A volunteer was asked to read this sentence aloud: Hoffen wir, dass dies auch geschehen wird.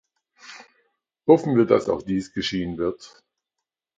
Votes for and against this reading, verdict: 0, 2, rejected